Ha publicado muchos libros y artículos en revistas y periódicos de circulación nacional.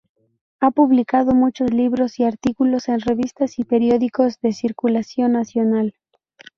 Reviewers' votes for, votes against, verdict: 0, 2, rejected